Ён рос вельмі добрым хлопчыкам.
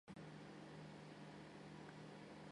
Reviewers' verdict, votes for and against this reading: rejected, 0, 3